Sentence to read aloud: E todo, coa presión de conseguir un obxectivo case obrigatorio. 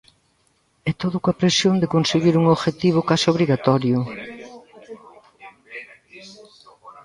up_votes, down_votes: 0, 2